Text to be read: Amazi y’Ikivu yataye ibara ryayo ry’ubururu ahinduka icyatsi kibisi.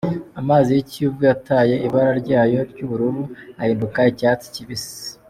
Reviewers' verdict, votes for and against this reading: accepted, 2, 0